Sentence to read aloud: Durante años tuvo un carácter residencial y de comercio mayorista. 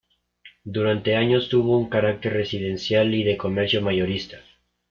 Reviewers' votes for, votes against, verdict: 2, 0, accepted